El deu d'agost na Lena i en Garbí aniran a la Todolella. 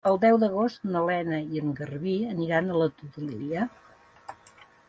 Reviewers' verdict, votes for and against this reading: accepted, 2, 0